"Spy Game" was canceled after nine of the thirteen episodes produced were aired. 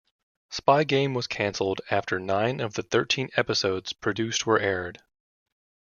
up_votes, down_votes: 2, 0